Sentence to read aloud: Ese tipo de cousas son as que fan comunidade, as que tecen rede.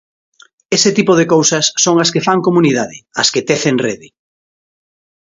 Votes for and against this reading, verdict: 2, 0, accepted